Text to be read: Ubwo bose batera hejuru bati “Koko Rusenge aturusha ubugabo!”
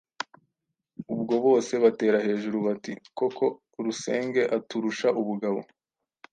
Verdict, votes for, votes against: rejected, 1, 2